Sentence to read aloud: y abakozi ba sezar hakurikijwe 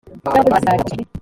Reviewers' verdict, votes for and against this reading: rejected, 0, 3